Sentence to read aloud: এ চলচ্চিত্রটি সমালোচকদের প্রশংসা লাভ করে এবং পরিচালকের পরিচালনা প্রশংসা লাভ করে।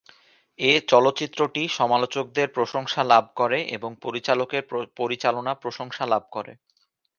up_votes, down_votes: 0, 2